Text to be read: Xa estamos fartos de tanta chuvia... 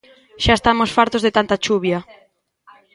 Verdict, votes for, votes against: accepted, 2, 0